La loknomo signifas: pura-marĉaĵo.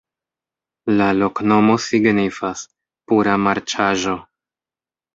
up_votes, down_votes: 2, 0